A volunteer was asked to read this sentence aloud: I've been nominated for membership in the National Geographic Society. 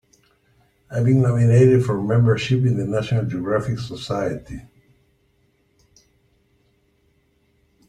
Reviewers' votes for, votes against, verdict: 1, 2, rejected